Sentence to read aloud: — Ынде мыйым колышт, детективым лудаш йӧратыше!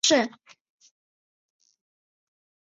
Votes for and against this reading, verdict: 0, 2, rejected